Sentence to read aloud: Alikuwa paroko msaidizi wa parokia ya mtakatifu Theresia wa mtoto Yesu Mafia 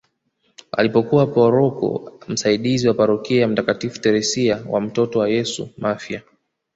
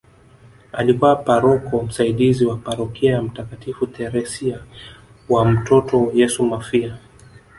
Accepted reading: second